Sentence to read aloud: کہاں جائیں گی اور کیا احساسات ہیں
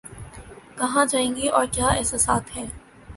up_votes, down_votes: 5, 1